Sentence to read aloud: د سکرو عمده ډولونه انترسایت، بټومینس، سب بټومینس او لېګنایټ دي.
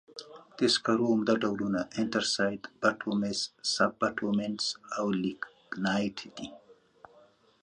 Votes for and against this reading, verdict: 2, 0, accepted